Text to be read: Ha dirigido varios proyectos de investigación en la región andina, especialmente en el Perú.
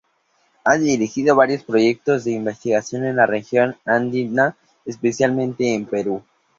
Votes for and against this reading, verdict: 0, 2, rejected